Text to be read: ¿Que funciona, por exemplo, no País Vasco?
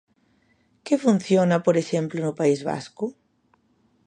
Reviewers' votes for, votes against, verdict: 2, 0, accepted